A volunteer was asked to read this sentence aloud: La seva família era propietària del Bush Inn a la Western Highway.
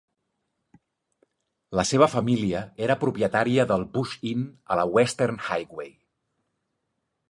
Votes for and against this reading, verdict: 2, 0, accepted